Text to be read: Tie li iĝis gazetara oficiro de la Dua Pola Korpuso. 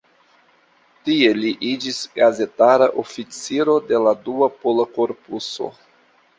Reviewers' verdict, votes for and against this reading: accepted, 2, 1